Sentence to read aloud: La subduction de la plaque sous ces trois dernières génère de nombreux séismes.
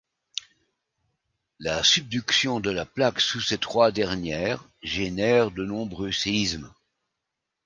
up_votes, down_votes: 2, 0